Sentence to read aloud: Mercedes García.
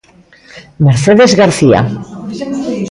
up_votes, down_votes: 2, 0